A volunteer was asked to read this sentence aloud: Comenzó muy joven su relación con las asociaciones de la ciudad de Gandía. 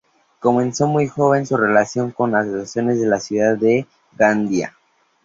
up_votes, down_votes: 2, 0